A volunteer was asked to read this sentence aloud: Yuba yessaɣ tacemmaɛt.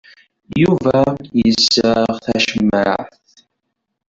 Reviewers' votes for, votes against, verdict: 1, 2, rejected